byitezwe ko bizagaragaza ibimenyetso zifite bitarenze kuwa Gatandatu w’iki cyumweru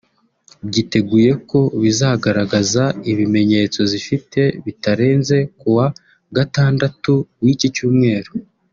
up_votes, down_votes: 1, 2